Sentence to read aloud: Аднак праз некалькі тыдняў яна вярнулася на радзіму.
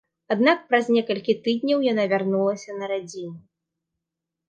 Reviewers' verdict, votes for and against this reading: accepted, 2, 0